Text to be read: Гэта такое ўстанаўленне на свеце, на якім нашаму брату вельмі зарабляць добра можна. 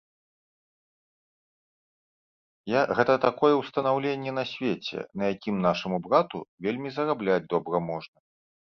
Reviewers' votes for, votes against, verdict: 1, 2, rejected